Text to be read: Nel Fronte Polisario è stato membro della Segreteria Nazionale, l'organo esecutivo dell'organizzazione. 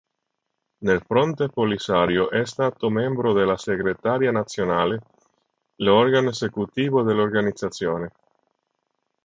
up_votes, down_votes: 1, 4